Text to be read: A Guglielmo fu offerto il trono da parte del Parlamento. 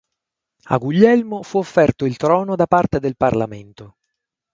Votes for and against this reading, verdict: 6, 0, accepted